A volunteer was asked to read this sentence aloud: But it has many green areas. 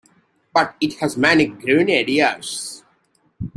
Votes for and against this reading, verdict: 2, 1, accepted